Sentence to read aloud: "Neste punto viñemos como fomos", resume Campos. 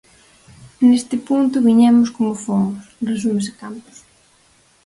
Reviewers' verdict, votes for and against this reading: rejected, 2, 2